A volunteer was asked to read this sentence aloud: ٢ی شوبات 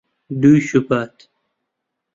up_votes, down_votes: 0, 2